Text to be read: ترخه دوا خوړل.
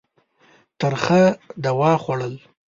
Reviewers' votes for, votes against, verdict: 2, 0, accepted